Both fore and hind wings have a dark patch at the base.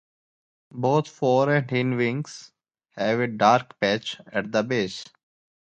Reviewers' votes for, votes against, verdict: 0, 2, rejected